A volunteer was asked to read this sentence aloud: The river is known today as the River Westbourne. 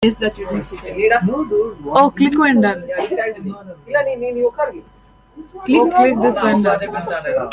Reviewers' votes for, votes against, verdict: 0, 2, rejected